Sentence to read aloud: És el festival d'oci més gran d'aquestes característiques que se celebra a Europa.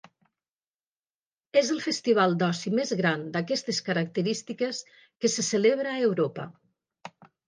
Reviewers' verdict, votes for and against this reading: accepted, 4, 0